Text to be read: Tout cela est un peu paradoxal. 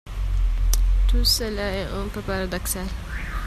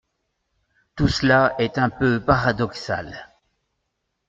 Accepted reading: second